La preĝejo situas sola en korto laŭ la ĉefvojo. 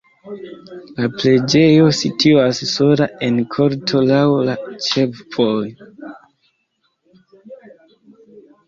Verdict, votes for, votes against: rejected, 1, 2